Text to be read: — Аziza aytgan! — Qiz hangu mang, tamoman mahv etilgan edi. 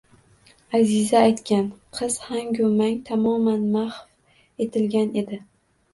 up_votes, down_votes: 2, 0